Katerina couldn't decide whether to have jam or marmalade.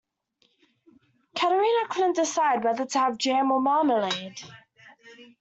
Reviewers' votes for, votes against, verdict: 2, 1, accepted